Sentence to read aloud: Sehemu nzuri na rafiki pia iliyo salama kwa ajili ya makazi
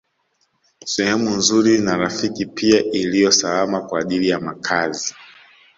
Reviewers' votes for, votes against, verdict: 2, 0, accepted